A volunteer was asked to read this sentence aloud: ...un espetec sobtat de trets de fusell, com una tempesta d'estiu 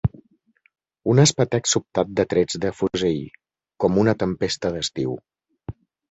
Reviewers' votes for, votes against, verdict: 3, 2, accepted